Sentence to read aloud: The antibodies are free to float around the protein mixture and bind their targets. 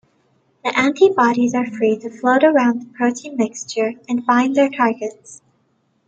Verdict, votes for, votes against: accepted, 2, 1